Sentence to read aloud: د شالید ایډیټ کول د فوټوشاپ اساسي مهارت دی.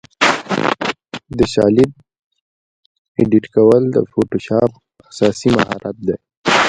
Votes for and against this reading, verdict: 1, 2, rejected